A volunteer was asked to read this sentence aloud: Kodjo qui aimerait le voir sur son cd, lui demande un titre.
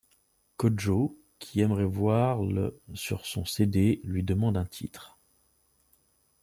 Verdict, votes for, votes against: rejected, 1, 2